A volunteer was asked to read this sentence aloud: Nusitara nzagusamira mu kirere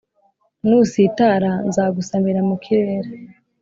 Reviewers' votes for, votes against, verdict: 2, 0, accepted